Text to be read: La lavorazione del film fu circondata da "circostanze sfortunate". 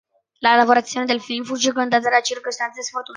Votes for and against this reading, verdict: 0, 2, rejected